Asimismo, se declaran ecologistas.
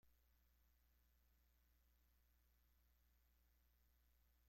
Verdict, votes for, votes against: rejected, 0, 2